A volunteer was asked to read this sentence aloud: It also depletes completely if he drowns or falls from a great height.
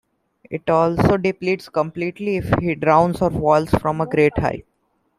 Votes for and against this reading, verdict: 2, 1, accepted